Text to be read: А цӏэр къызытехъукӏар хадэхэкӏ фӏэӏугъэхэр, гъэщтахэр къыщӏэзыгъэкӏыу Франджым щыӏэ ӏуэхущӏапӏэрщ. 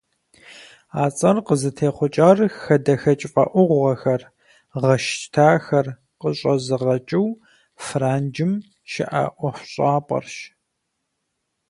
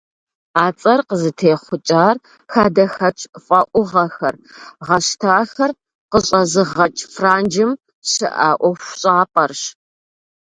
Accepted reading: first